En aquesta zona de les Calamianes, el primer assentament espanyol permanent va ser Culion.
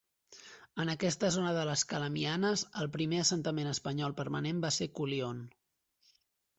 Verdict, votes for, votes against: accepted, 2, 0